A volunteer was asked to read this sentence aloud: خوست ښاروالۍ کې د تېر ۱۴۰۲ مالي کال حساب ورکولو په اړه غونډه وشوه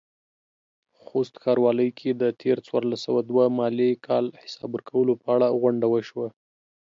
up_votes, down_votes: 0, 2